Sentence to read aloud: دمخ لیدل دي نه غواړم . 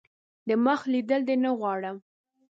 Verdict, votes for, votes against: accepted, 6, 0